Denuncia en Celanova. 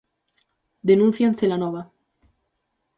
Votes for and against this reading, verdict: 4, 0, accepted